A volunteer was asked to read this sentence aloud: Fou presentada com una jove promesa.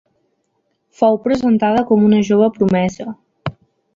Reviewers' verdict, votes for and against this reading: accepted, 3, 0